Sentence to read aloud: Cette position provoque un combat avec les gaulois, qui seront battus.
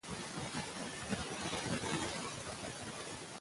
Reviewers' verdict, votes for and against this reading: rejected, 0, 2